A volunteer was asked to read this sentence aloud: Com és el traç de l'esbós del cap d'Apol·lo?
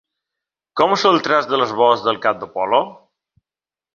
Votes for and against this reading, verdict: 2, 0, accepted